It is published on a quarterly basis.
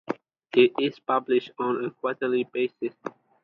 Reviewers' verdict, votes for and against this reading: accepted, 2, 0